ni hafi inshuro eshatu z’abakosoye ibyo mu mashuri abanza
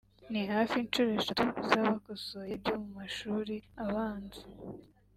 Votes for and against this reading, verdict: 2, 0, accepted